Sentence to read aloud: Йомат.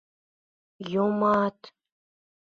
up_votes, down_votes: 2, 0